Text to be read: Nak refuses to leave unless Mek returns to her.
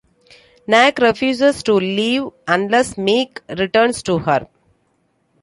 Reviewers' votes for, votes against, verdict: 2, 1, accepted